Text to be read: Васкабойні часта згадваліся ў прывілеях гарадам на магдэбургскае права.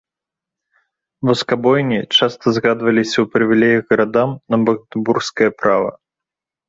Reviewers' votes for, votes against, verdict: 3, 0, accepted